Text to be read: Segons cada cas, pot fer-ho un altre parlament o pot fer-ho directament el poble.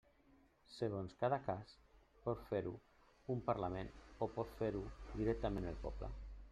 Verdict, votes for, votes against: rejected, 1, 2